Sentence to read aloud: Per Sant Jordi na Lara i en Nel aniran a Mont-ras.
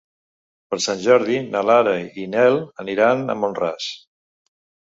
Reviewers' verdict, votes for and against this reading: rejected, 0, 2